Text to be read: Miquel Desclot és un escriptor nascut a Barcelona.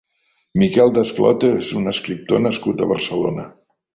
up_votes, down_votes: 3, 0